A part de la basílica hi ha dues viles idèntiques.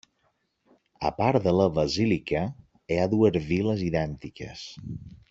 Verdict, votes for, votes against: accepted, 2, 0